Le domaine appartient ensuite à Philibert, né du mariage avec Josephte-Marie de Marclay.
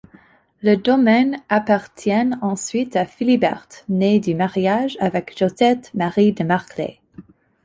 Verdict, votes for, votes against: accepted, 2, 0